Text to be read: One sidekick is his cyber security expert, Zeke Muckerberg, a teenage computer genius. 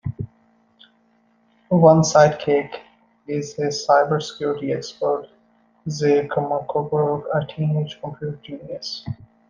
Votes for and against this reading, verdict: 1, 2, rejected